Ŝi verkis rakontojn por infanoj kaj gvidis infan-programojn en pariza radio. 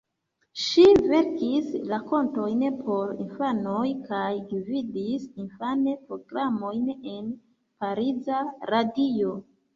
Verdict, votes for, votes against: rejected, 1, 2